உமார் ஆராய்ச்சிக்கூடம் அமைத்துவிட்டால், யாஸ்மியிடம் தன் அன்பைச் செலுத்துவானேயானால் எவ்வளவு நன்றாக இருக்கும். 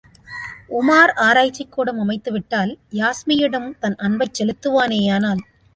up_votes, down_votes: 0, 2